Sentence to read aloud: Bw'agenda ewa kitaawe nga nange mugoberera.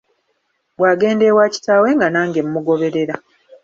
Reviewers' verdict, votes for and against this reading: accepted, 2, 0